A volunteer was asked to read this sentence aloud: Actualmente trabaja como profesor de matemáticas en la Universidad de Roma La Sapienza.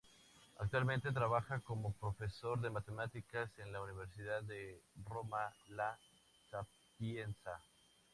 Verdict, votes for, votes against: accepted, 4, 0